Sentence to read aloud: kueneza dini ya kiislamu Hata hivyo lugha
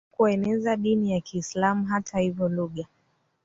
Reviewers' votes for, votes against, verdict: 0, 2, rejected